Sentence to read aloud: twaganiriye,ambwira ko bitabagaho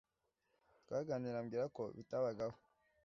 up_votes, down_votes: 2, 0